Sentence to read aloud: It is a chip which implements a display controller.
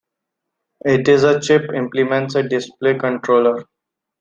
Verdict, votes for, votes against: rejected, 0, 2